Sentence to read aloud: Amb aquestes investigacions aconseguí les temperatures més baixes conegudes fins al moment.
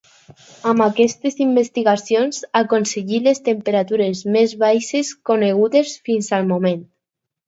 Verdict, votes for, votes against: accepted, 2, 0